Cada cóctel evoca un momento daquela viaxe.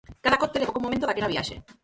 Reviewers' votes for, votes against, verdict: 0, 4, rejected